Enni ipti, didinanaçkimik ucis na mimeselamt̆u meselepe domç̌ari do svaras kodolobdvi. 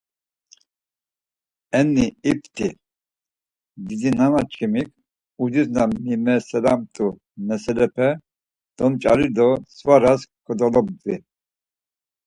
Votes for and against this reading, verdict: 4, 2, accepted